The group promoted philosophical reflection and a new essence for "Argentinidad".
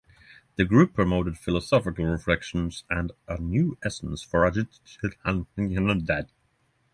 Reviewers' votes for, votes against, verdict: 0, 3, rejected